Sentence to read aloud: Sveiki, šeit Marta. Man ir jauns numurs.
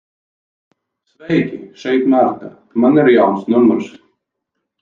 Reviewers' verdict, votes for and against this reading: rejected, 0, 4